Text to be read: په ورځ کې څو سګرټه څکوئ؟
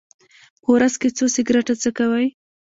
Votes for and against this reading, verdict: 2, 0, accepted